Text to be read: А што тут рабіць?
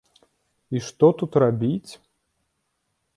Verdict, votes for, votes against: rejected, 0, 2